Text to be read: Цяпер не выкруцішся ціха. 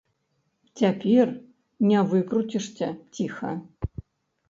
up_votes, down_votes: 1, 2